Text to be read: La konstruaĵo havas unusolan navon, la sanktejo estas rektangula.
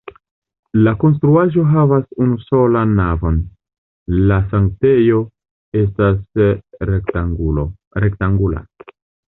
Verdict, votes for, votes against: rejected, 0, 2